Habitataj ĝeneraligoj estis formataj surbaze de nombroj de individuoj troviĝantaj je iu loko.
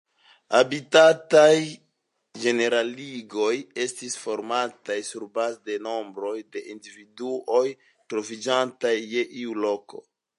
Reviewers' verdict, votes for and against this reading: accepted, 2, 0